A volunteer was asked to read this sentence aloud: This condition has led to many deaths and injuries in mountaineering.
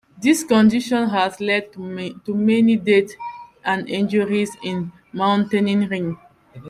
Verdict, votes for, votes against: rejected, 0, 2